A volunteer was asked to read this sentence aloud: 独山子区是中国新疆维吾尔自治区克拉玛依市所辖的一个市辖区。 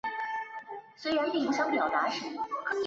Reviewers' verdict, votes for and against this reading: rejected, 0, 5